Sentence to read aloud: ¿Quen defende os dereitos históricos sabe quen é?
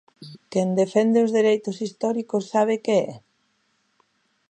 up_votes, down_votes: 0, 2